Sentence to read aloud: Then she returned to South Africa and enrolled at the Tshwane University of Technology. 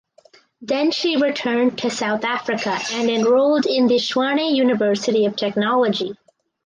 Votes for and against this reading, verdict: 4, 0, accepted